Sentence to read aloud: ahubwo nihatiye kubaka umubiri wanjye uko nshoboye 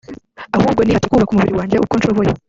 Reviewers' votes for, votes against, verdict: 0, 2, rejected